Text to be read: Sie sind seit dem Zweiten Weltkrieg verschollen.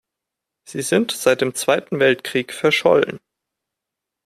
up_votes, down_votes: 2, 0